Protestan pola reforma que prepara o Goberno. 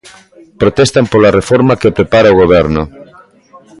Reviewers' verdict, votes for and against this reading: rejected, 1, 2